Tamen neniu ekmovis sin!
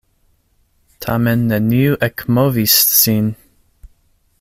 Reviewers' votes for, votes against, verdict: 2, 0, accepted